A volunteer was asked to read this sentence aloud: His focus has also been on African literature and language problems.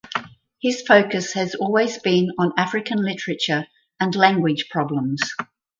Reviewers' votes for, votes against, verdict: 2, 4, rejected